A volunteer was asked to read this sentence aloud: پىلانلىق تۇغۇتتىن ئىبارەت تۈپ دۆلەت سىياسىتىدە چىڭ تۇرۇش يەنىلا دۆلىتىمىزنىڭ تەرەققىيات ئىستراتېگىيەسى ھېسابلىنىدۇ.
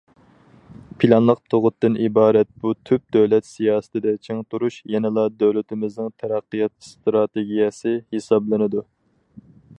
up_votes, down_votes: 2, 4